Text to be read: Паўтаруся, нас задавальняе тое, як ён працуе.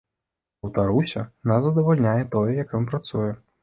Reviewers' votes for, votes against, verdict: 2, 0, accepted